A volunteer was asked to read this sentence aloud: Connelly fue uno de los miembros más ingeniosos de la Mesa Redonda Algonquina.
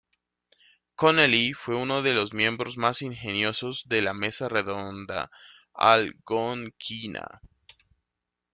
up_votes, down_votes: 1, 2